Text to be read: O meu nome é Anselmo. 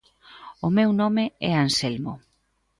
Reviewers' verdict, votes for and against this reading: accepted, 2, 0